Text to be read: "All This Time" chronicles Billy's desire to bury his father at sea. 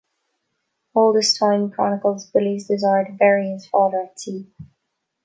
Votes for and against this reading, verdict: 2, 0, accepted